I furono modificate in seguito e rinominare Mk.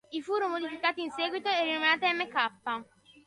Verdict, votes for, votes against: rejected, 0, 3